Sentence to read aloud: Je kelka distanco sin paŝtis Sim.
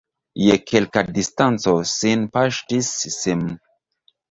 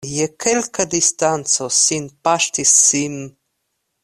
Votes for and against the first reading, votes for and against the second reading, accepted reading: 1, 2, 2, 0, second